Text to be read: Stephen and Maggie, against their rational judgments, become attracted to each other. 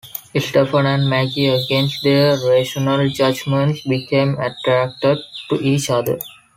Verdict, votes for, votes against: accepted, 2, 0